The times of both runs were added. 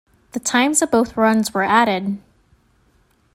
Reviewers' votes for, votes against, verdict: 2, 0, accepted